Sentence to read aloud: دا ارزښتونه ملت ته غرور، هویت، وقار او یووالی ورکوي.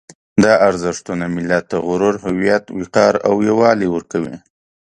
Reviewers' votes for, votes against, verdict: 2, 0, accepted